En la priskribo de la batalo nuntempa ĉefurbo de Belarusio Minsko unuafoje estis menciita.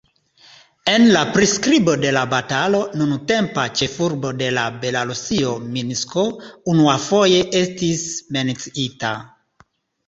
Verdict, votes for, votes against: rejected, 1, 2